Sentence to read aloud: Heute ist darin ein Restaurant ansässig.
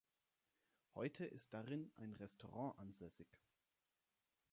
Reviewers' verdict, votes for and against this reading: accepted, 3, 0